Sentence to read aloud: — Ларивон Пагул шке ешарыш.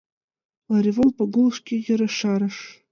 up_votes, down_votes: 2, 1